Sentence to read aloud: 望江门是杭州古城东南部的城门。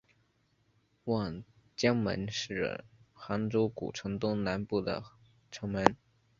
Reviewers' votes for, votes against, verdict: 2, 0, accepted